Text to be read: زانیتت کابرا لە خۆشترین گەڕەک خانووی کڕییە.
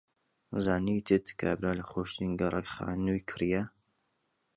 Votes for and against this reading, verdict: 2, 0, accepted